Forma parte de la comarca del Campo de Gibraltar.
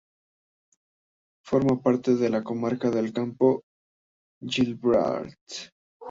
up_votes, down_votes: 0, 2